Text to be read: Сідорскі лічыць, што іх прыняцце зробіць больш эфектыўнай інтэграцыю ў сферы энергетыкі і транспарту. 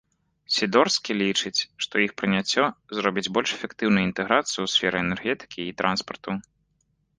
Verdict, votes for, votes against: rejected, 0, 2